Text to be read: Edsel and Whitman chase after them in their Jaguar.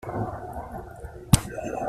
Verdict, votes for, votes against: rejected, 0, 2